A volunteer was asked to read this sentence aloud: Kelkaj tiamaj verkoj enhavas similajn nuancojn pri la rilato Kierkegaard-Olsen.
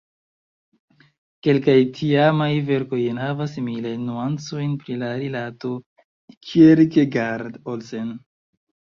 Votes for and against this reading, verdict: 1, 2, rejected